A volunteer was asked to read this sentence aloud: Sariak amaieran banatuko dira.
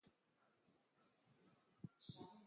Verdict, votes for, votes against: rejected, 0, 2